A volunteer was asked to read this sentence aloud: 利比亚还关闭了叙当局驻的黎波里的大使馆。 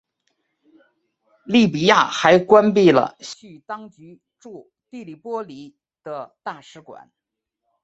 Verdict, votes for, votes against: accepted, 2, 1